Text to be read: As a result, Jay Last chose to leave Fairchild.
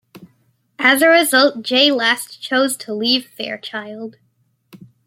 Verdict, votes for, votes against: accepted, 2, 1